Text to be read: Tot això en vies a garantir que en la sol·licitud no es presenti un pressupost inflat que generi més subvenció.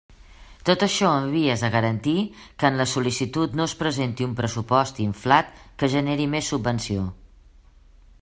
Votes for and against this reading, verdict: 3, 1, accepted